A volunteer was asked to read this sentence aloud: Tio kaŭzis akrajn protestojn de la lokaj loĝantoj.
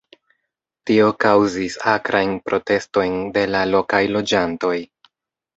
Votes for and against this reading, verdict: 1, 2, rejected